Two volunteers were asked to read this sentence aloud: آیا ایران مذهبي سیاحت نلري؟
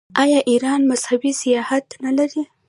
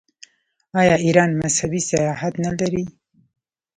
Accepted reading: first